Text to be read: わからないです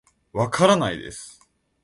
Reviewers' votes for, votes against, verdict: 2, 0, accepted